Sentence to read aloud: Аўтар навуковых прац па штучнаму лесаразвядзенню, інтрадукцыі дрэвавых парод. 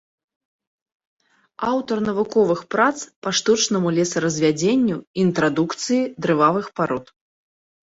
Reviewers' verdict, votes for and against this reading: rejected, 1, 2